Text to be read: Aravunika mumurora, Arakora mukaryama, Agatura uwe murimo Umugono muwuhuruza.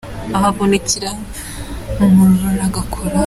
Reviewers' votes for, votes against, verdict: 0, 2, rejected